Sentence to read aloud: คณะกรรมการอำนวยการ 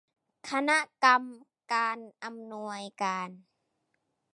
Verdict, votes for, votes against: accepted, 2, 0